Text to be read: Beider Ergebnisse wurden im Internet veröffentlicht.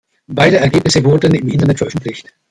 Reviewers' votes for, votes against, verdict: 2, 0, accepted